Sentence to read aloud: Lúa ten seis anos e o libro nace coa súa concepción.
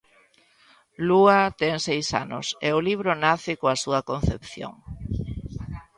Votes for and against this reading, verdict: 2, 0, accepted